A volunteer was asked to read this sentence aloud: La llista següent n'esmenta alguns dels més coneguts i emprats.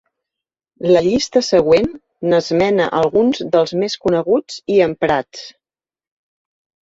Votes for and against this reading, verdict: 0, 2, rejected